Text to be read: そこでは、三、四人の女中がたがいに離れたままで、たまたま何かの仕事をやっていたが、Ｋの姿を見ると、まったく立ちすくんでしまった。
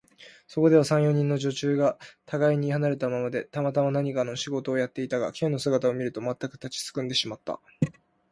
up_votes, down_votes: 2, 0